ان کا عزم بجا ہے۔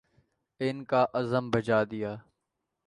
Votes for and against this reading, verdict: 1, 2, rejected